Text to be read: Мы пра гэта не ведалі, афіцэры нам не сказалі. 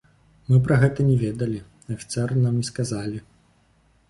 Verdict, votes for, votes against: accepted, 2, 0